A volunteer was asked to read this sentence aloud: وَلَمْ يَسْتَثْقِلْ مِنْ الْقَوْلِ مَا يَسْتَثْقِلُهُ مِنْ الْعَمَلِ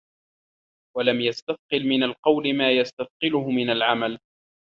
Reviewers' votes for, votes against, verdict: 2, 1, accepted